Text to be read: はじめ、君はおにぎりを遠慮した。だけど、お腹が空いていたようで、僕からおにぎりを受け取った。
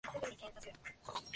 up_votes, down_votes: 0, 2